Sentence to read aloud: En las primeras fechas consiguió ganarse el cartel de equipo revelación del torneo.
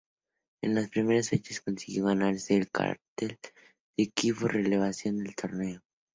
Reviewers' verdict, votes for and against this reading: rejected, 2, 2